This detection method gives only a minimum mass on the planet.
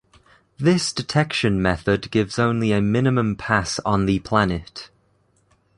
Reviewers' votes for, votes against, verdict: 0, 2, rejected